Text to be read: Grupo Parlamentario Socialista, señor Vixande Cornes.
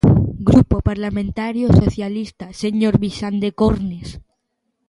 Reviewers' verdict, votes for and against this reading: accepted, 2, 0